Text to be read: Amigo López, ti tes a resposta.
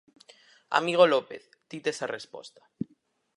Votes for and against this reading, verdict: 4, 0, accepted